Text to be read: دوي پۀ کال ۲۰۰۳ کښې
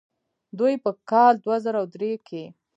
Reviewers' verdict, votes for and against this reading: rejected, 0, 2